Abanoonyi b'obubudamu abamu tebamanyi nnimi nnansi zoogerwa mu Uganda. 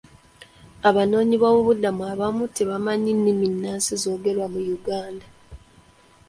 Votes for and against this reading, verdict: 0, 2, rejected